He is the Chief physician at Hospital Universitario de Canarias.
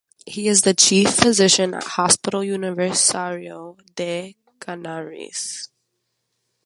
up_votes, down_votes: 1, 2